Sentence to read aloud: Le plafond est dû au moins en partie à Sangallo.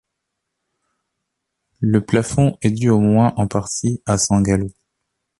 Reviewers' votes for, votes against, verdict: 2, 0, accepted